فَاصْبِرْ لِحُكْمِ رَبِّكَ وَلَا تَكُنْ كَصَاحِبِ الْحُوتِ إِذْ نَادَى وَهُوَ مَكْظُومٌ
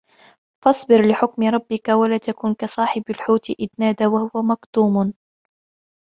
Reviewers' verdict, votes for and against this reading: accepted, 2, 0